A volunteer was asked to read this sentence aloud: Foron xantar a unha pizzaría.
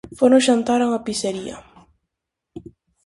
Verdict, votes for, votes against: rejected, 0, 4